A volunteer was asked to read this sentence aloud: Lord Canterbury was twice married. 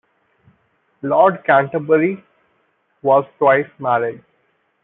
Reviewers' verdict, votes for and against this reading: rejected, 1, 2